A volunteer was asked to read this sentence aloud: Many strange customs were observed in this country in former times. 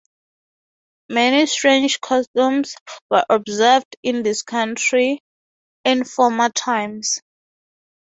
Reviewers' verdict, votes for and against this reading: accepted, 6, 0